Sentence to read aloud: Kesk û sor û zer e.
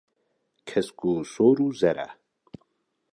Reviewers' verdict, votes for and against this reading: accepted, 2, 0